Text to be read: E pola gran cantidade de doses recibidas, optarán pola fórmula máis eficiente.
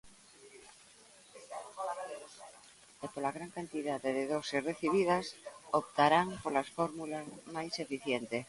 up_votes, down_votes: 0, 2